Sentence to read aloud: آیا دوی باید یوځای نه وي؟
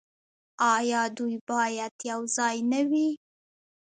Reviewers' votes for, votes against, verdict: 2, 1, accepted